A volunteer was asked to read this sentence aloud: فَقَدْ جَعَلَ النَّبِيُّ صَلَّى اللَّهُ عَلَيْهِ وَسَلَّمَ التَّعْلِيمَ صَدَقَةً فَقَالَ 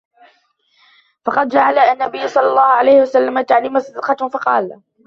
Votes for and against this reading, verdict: 0, 2, rejected